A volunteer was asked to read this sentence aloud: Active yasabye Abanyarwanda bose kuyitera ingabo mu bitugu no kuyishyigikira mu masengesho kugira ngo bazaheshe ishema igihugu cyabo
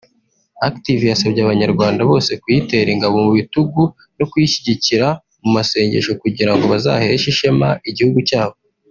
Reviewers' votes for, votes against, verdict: 1, 2, rejected